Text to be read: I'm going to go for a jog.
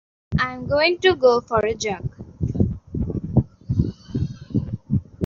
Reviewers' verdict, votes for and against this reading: rejected, 0, 2